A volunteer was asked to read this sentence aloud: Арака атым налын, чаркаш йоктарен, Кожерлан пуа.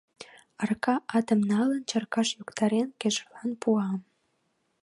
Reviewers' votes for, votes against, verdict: 0, 2, rejected